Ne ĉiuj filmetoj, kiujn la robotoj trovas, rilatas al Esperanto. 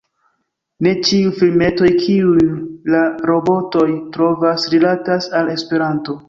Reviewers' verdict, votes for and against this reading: rejected, 0, 2